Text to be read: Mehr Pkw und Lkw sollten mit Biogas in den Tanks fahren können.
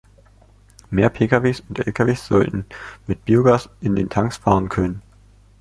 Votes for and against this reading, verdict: 0, 2, rejected